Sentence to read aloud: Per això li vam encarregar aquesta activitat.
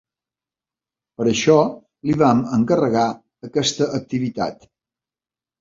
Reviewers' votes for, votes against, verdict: 3, 0, accepted